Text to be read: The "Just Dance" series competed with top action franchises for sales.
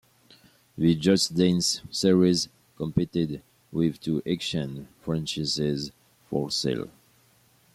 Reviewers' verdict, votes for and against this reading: rejected, 1, 2